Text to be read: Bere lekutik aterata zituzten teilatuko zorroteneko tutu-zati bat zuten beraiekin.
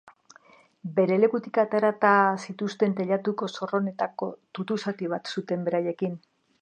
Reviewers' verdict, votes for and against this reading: rejected, 1, 2